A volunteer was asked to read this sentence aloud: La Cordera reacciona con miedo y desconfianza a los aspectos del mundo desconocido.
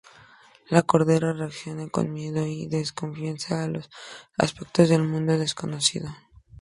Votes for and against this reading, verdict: 2, 0, accepted